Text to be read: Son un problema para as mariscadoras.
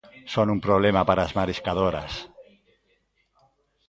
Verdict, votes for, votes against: rejected, 1, 2